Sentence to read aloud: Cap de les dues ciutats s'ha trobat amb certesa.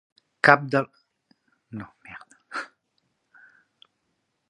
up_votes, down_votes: 0, 2